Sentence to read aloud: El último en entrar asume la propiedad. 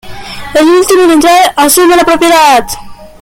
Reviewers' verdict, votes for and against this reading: accepted, 2, 0